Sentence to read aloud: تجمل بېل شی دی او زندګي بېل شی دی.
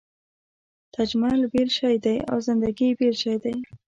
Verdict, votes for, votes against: accepted, 2, 0